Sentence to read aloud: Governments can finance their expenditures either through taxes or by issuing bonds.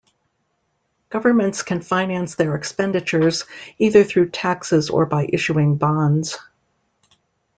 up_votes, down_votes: 2, 0